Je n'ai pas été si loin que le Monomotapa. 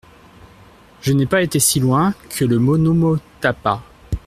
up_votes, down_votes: 1, 2